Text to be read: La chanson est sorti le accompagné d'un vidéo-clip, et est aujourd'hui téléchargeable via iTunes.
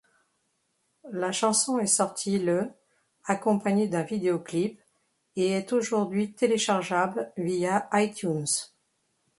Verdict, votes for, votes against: accepted, 2, 0